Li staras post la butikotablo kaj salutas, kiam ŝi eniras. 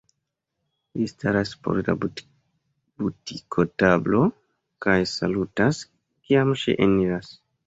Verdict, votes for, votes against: accepted, 2, 0